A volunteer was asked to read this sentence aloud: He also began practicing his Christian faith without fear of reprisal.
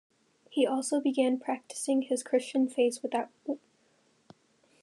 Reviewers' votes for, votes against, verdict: 0, 2, rejected